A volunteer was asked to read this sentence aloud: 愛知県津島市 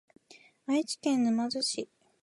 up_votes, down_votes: 1, 3